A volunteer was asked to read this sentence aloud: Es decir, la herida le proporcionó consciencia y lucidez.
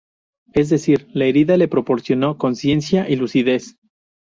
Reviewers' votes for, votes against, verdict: 0, 2, rejected